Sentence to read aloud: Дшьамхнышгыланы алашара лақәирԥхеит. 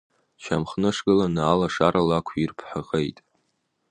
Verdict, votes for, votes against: accepted, 2, 1